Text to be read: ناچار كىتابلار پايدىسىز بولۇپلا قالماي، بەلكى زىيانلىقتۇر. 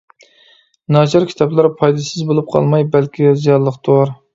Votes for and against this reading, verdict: 1, 2, rejected